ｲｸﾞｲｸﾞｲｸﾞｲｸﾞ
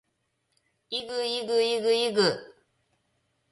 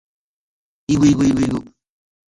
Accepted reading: second